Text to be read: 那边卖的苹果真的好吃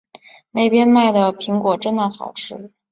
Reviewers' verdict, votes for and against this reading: accepted, 4, 0